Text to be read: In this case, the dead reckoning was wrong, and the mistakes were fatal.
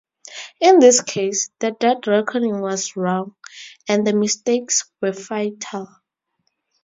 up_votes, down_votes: 4, 0